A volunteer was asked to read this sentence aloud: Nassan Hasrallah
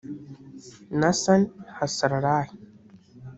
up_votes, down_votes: 1, 2